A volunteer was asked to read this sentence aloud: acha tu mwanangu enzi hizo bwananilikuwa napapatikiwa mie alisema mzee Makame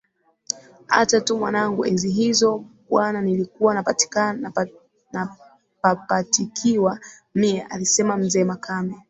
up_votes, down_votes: 2, 0